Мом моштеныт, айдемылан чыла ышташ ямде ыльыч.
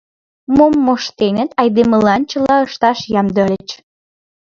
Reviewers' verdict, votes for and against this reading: rejected, 1, 2